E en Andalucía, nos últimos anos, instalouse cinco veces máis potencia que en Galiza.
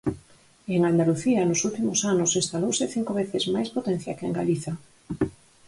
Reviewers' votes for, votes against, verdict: 4, 0, accepted